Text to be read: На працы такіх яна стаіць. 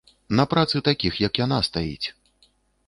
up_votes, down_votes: 0, 2